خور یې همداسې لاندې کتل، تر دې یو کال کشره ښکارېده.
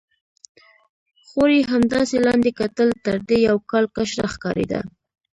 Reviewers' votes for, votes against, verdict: 2, 3, rejected